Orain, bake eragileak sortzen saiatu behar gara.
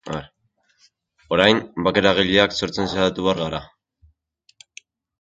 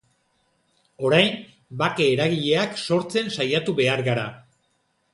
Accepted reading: second